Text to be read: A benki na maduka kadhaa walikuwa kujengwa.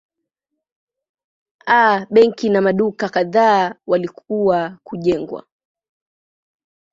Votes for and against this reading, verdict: 0, 2, rejected